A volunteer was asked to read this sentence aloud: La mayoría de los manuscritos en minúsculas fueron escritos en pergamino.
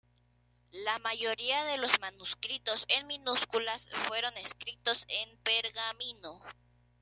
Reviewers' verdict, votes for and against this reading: accepted, 2, 0